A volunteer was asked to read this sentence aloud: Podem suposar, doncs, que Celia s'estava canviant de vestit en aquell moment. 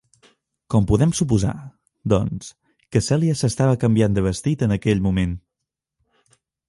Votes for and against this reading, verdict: 1, 2, rejected